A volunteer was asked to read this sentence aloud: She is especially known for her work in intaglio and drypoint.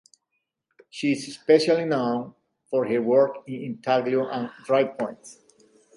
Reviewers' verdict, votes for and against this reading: accepted, 2, 0